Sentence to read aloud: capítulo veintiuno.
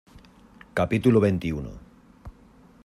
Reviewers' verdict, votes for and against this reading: accepted, 2, 0